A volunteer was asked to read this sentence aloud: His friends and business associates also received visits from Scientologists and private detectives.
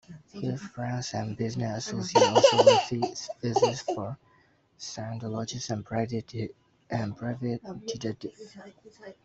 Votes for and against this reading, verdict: 0, 2, rejected